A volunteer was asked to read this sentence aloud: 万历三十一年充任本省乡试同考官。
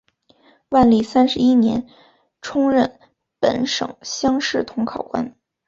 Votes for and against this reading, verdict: 0, 2, rejected